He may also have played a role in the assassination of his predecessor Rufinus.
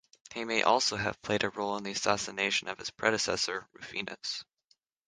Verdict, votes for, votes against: rejected, 3, 3